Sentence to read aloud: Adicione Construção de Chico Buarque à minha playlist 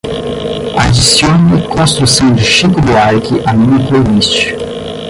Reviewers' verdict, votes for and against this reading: rejected, 0, 10